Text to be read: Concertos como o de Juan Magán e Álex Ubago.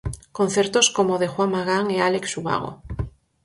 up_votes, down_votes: 4, 0